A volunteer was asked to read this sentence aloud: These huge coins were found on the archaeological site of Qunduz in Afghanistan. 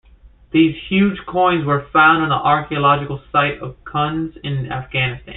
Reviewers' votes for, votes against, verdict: 0, 2, rejected